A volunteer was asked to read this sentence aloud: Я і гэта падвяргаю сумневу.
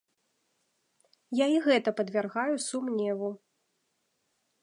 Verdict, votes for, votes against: accepted, 2, 0